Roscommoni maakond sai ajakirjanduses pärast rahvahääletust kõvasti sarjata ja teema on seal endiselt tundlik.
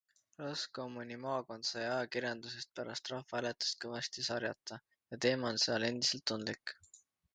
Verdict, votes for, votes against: accepted, 2, 1